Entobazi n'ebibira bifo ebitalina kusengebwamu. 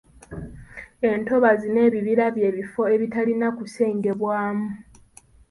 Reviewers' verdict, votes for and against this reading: rejected, 1, 2